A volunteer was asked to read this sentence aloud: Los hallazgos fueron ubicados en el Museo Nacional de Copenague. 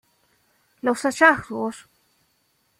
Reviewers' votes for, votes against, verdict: 0, 2, rejected